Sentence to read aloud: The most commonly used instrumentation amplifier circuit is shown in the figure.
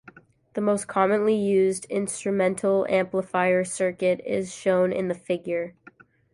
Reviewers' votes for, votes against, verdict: 0, 2, rejected